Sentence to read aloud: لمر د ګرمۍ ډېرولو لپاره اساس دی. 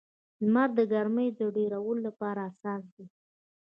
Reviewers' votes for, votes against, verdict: 1, 2, rejected